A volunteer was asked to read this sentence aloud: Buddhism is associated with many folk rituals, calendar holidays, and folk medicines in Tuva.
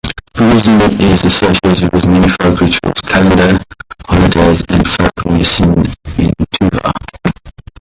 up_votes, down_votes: 1, 2